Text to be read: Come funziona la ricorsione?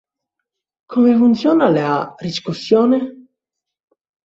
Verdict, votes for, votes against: rejected, 0, 2